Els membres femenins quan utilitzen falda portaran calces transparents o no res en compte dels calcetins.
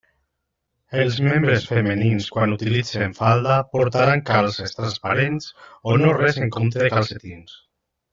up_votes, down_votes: 2, 0